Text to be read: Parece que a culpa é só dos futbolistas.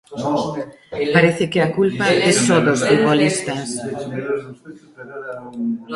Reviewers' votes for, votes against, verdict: 2, 0, accepted